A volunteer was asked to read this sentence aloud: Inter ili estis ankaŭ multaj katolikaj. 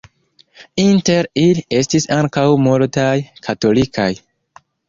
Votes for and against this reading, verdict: 1, 3, rejected